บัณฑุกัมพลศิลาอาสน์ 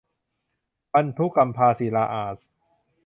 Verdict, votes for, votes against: rejected, 0, 2